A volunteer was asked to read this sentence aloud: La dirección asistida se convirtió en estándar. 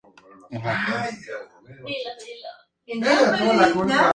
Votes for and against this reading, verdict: 0, 4, rejected